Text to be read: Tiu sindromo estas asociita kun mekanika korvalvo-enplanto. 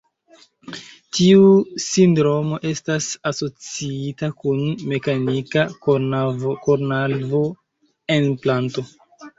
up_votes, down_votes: 1, 2